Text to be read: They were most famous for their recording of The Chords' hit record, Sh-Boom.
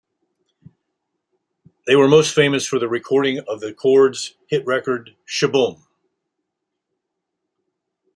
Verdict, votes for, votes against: accepted, 2, 0